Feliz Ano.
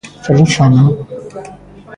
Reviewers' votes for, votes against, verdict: 2, 1, accepted